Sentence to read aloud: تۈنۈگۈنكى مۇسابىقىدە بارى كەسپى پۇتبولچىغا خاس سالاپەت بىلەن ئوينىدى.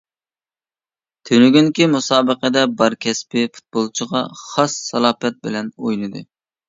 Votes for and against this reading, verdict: 0, 2, rejected